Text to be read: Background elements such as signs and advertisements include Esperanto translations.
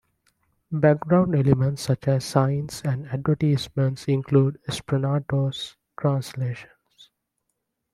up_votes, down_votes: 1, 2